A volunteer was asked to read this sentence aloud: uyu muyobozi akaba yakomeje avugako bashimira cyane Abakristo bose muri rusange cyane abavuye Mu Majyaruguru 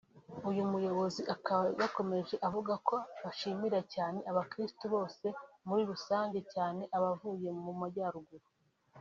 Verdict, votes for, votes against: accepted, 3, 0